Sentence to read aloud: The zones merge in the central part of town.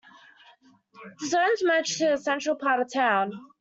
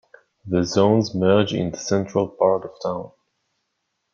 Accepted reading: second